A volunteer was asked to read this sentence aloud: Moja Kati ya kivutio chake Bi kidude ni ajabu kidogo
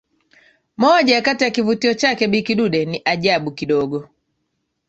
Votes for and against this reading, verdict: 2, 1, accepted